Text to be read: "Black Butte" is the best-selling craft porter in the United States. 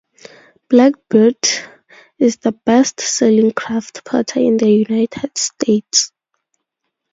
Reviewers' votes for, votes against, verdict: 0, 2, rejected